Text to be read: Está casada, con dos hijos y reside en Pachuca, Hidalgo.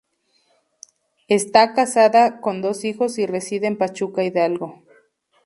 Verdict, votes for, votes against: accepted, 2, 0